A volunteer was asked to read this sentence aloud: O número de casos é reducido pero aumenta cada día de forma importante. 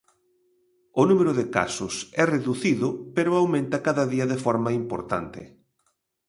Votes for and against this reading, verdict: 3, 0, accepted